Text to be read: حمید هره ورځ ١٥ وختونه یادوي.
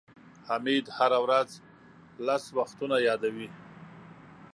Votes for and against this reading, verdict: 0, 2, rejected